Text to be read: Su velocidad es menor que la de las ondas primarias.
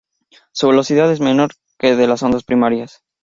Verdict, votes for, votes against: rejected, 0, 2